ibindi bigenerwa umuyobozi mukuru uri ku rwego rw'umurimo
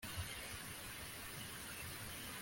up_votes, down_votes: 0, 2